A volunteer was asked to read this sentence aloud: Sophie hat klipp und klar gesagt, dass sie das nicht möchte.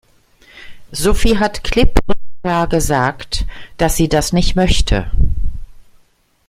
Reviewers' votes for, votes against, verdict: 0, 2, rejected